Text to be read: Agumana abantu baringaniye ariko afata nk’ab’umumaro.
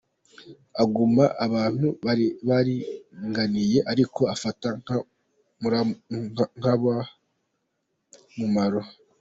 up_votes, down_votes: 0, 2